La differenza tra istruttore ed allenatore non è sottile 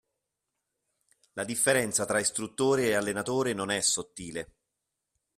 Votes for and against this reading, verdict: 2, 0, accepted